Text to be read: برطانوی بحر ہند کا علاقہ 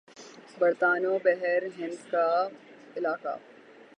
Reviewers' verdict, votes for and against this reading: accepted, 15, 9